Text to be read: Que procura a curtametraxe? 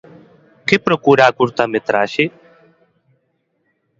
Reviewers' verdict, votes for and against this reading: accepted, 2, 0